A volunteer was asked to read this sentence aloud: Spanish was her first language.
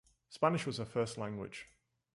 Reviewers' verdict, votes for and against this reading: rejected, 0, 2